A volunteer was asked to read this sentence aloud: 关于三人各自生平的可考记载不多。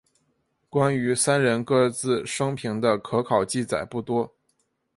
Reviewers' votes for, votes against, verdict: 2, 0, accepted